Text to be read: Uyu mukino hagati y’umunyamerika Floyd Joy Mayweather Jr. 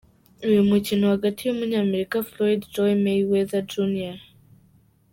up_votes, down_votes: 2, 0